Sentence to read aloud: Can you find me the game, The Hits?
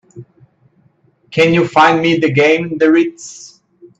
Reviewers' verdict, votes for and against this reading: rejected, 0, 2